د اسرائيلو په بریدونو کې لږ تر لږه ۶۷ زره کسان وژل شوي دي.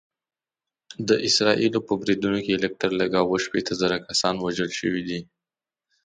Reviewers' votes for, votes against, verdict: 0, 2, rejected